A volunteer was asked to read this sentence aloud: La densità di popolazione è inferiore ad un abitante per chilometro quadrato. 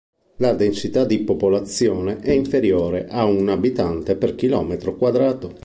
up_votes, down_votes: 1, 2